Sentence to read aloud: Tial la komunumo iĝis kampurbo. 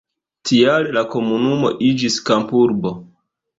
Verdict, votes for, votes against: accepted, 2, 0